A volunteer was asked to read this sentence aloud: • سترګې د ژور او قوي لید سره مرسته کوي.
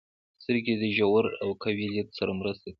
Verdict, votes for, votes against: rejected, 0, 2